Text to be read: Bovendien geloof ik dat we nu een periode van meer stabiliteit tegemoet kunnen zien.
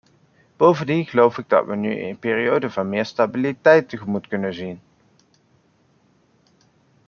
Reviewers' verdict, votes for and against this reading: accepted, 2, 1